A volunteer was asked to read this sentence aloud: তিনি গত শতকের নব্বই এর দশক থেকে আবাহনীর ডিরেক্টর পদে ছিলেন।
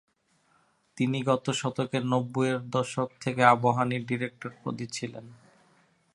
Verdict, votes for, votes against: accepted, 2, 0